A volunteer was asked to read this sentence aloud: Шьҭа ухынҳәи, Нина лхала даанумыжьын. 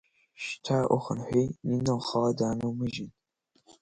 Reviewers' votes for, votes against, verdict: 2, 1, accepted